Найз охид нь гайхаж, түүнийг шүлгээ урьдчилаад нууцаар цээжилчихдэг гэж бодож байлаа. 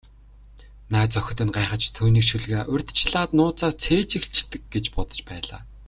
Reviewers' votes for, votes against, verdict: 2, 1, accepted